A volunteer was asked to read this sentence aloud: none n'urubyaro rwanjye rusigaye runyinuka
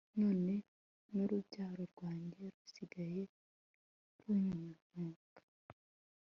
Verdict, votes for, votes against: accepted, 2, 0